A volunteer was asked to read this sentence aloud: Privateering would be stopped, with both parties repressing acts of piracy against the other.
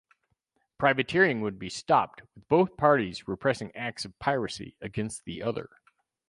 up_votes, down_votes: 4, 2